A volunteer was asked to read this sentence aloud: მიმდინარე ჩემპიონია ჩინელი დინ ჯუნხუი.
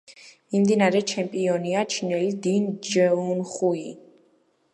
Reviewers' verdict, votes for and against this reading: rejected, 0, 2